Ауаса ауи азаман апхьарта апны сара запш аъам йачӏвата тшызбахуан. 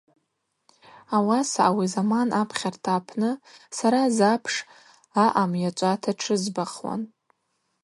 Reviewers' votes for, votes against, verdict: 2, 0, accepted